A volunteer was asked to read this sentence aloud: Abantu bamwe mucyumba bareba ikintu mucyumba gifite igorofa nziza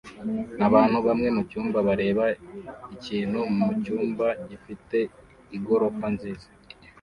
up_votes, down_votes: 2, 0